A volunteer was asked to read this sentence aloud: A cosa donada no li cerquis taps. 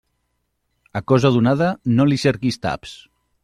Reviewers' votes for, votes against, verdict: 2, 0, accepted